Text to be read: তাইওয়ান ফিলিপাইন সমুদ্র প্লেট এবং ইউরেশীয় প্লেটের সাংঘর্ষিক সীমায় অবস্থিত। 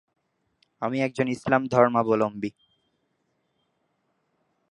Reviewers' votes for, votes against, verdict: 0, 2, rejected